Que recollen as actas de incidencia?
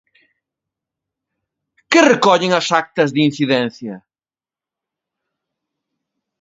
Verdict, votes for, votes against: accepted, 2, 0